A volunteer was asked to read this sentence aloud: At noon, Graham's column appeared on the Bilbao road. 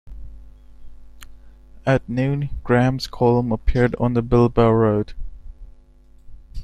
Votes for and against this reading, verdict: 0, 2, rejected